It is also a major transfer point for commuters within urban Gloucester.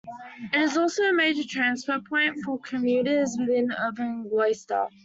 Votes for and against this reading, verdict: 2, 0, accepted